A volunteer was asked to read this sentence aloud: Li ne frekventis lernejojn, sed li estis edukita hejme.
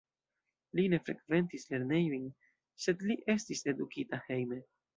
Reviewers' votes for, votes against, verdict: 2, 0, accepted